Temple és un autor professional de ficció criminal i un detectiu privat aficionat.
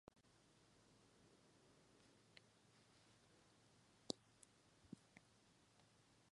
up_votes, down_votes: 0, 2